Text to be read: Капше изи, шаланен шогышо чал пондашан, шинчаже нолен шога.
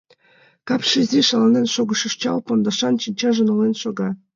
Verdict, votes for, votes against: accepted, 2, 0